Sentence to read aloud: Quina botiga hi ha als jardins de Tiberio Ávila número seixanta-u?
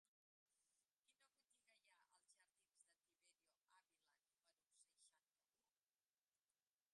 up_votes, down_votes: 0, 3